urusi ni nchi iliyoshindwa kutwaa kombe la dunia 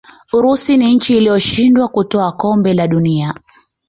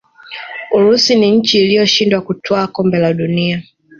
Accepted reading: first